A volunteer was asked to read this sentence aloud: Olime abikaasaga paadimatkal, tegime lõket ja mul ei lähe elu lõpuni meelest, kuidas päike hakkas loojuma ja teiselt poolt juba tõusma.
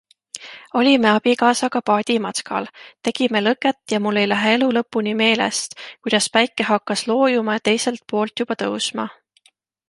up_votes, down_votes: 2, 0